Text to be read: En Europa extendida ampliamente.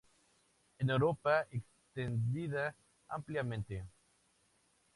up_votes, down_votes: 2, 0